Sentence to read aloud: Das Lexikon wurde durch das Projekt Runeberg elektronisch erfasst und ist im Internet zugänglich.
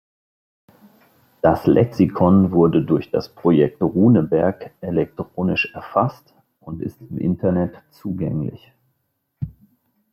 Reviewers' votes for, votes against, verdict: 2, 1, accepted